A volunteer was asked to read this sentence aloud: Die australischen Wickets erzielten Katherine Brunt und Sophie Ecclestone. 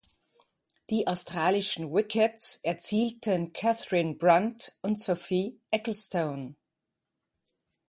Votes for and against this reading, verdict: 2, 0, accepted